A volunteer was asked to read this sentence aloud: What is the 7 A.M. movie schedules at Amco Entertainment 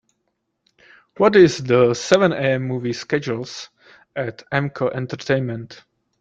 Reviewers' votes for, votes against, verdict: 0, 2, rejected